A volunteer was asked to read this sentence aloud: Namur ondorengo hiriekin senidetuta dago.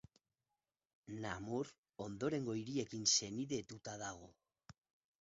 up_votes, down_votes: 4, 2